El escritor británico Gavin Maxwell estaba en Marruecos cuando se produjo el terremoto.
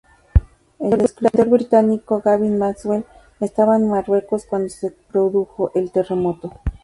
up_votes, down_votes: 0, 2